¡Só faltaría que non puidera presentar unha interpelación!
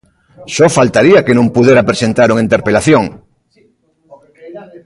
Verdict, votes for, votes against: accepted, 2, 1